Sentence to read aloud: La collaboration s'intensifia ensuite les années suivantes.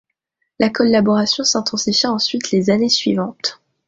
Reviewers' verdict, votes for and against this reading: accepted, 2, 1